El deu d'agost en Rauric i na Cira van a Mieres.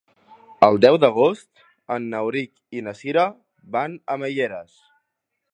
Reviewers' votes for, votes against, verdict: 0, 2, rejected